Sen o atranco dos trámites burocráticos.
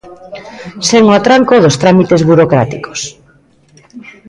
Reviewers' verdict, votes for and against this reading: rejected, 1, 2